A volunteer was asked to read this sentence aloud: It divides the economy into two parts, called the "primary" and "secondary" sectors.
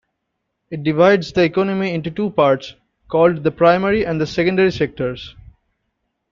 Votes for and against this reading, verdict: 1, 2, rejected